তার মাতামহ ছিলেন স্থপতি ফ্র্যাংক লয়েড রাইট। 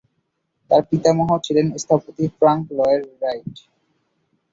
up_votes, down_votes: 0, 3